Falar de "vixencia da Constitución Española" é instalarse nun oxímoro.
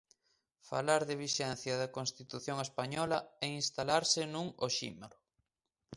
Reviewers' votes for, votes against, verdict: 2, 0, accepted